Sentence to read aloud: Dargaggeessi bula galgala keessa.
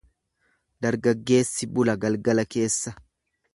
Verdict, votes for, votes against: accepted, 2, 0